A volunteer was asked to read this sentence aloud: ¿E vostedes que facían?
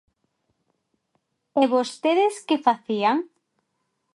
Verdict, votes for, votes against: accepted, 2, 0